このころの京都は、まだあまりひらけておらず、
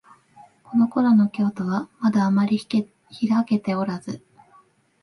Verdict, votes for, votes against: rejected, 0, 2